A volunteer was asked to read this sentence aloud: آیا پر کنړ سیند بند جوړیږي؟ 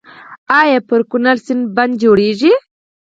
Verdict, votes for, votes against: rejected, 0, 4